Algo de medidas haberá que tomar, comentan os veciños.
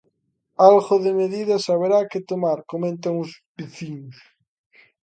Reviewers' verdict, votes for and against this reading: accepted, 2, 0